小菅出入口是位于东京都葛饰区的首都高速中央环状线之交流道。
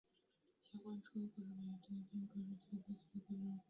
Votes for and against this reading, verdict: 0, 4, rejected